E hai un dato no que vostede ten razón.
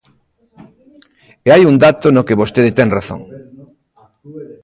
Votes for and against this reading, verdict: 2, 1, accepted